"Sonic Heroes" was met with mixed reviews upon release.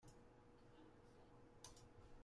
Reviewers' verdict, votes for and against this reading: rejected, 0, 2